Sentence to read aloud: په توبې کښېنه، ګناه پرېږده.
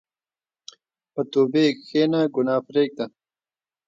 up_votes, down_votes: 2, 0